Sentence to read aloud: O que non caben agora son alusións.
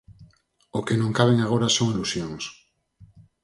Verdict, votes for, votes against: rejected, 2, 2